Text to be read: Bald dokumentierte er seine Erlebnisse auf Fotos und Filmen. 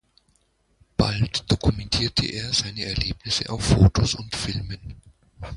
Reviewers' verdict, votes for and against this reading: accepted, 2, 0